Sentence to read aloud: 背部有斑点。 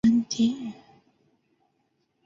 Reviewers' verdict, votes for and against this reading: rejected, 1, 2